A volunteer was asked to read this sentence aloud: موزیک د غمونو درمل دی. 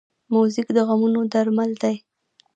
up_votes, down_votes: 0, 2